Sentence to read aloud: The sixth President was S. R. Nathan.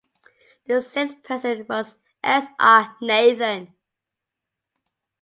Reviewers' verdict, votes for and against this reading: accepted, 2, 0